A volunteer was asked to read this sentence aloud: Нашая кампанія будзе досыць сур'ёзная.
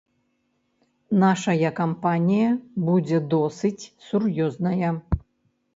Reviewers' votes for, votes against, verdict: 3, 0, accepted